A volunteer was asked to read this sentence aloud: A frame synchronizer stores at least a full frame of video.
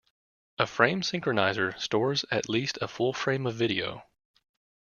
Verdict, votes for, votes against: accepted, 2, 0